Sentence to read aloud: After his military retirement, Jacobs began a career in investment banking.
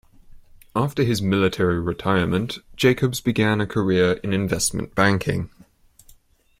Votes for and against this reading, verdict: 2, 0, accepted